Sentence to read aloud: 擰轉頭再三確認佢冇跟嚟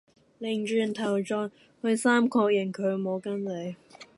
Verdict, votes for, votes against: rejected, 0, 2